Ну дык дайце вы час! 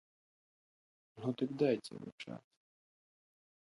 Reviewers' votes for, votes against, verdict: 0, 2, rejected